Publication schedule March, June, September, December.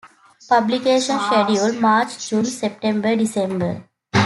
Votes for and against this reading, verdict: 2, 0, accepted